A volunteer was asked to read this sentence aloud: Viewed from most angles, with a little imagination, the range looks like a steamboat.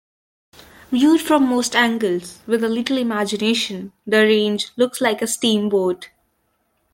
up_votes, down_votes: 2, 0